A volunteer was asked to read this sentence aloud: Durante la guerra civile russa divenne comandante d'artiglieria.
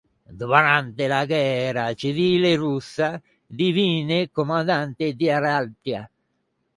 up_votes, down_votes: 0, 2